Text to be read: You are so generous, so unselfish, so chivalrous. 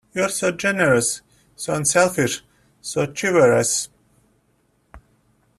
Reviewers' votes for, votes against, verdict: 0, 2, rejected